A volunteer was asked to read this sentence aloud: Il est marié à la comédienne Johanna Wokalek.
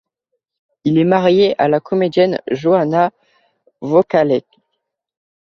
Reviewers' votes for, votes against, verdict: 2, 0, accepted